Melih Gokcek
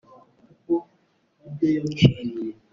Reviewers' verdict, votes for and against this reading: rejected, 0, 2